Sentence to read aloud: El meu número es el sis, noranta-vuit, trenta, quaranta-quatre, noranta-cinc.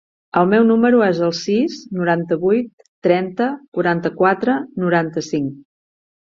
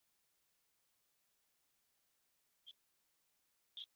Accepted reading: first